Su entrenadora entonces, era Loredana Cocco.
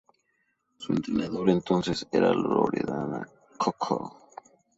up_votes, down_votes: 2, 0